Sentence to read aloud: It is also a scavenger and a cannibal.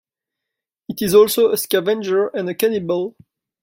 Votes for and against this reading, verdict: 2, 1, accepted